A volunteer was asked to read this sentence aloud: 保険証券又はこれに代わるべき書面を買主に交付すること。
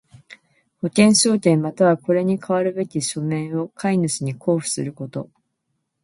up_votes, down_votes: 2, 1